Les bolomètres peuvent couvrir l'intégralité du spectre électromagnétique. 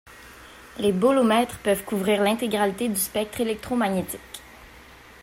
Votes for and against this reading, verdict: 2, 0, accepted